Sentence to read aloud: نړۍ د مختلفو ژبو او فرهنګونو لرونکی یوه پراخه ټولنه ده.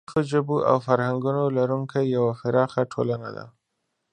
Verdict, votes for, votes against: rejected, 2, 4